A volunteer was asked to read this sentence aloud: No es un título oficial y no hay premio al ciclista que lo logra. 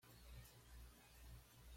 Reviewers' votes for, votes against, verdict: 0, 2, rejected